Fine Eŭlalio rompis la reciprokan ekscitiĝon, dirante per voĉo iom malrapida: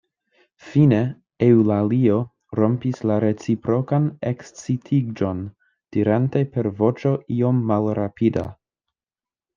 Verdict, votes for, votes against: accepted, 2, 0